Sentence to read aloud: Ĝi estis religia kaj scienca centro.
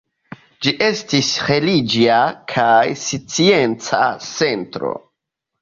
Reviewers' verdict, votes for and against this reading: rejected, 0, 2